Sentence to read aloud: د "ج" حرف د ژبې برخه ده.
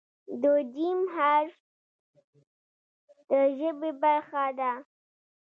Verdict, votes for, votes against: accepted, 3, 2